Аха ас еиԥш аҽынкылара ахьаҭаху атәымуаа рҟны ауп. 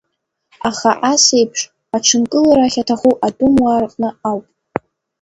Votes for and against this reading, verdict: 2, 1, accepted